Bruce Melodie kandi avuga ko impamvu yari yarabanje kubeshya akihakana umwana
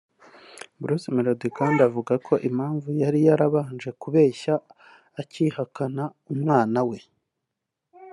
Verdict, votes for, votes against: accepted, 2, 0